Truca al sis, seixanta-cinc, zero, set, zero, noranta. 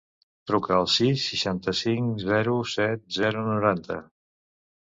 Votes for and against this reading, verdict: 3, 0, accepted